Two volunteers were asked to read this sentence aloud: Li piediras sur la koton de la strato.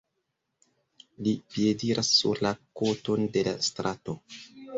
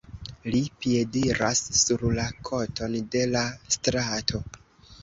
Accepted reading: second